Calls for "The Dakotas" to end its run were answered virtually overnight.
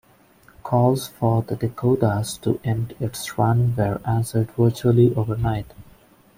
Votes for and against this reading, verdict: 2, 0, accepted